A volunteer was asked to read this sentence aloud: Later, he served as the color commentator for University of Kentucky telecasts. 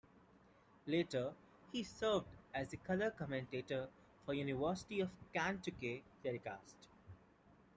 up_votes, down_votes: 1, 2